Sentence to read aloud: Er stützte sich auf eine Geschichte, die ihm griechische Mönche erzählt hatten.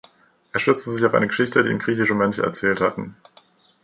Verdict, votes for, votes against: accepted, 2, 0